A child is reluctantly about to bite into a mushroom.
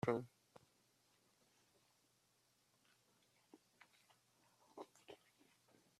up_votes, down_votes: 0, 2